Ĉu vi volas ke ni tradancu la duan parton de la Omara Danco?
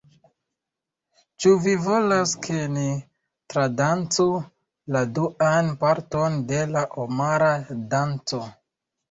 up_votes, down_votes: 1, 2